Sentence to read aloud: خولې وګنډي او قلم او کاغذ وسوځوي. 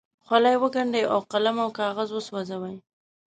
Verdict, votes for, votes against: rejected, 1, 2